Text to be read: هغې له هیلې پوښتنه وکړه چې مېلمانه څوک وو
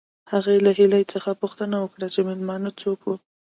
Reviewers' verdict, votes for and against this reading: accepted, 2, 0